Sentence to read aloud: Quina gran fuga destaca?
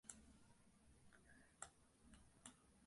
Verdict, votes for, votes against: rejected, 0, 2